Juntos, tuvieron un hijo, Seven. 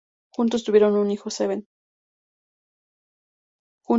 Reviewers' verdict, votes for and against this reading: accepted, 2, 0